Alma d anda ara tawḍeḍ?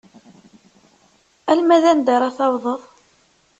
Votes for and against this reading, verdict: 2, 0, accepted